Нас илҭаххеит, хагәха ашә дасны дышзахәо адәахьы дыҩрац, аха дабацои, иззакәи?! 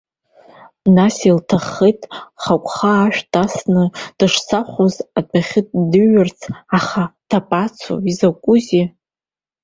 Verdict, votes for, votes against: rejected, 1, 2